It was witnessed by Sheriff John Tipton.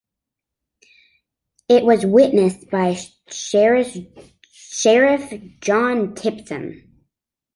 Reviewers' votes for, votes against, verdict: 0, 3, rejected